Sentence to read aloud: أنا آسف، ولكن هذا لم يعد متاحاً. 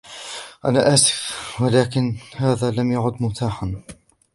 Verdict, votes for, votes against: accepted, 2, 0